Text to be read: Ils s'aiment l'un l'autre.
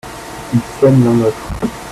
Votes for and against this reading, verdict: 2, 1, accepted